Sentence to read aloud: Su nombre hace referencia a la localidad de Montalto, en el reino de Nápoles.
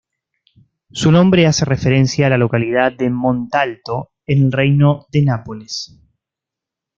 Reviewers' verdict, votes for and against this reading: accepted, 2, 1